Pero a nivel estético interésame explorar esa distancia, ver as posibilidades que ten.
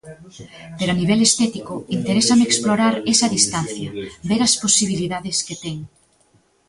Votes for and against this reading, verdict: 2, 0, accepted